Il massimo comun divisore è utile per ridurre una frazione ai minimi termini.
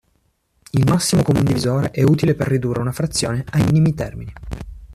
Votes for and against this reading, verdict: 2, 0, accepted